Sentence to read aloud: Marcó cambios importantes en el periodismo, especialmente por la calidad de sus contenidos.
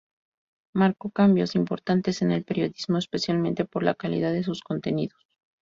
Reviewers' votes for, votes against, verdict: 2, 0, accepted